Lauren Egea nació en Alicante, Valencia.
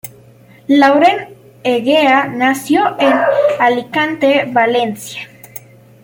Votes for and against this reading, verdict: 1, 2, rejected